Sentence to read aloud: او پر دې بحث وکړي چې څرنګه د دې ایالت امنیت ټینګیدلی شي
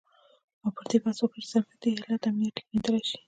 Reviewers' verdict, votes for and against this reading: rejected, 0, 2